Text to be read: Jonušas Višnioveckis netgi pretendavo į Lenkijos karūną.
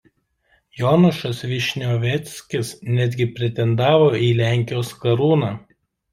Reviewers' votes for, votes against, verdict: 2, 0, accepted